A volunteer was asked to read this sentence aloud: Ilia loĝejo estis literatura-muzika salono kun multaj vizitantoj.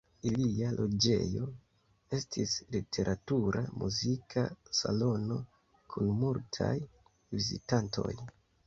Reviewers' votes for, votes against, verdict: 1, 2, rejected